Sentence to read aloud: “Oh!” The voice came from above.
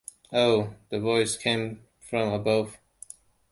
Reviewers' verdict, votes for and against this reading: accepted, 2, 0